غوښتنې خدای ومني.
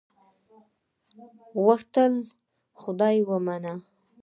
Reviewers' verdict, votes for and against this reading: rejected, 1, 2